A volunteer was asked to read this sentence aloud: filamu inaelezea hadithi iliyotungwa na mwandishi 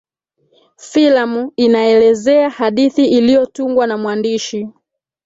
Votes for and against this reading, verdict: 0, 2, rejected